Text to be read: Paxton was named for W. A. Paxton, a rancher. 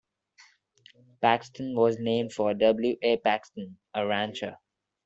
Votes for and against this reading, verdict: 2, 0, accepted